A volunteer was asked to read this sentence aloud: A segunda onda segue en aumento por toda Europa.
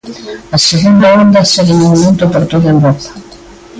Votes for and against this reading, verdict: 1, 2, rejected